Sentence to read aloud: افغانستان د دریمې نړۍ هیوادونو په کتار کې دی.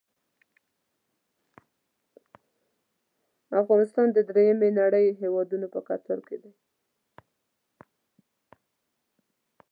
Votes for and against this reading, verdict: 0, 2, rejected